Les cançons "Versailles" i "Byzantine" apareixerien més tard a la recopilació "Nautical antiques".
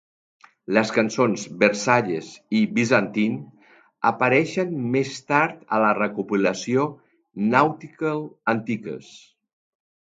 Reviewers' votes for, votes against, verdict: 1, 2, rejected